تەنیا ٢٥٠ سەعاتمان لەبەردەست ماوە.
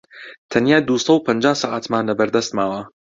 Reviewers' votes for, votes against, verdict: 0, 2, rejected